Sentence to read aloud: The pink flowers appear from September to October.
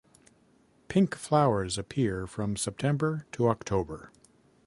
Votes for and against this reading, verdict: 0, 2, rejected